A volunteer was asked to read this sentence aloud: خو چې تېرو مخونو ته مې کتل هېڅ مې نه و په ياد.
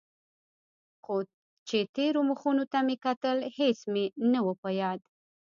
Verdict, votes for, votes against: accepted, 2, 1